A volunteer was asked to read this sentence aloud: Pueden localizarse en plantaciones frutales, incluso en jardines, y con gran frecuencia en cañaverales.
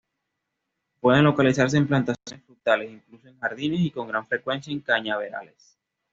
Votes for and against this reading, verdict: 1, 2, rejected